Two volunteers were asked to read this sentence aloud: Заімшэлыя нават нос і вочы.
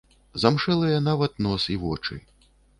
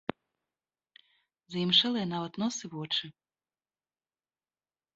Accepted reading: second